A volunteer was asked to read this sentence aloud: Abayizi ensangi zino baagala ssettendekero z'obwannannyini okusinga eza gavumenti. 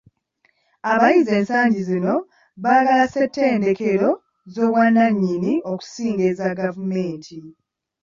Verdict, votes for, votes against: accepted, 2, 0